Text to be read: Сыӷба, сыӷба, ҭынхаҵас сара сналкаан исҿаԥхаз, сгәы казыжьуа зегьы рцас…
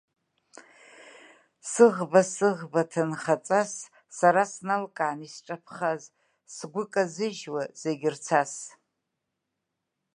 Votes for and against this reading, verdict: 2, 0, accepted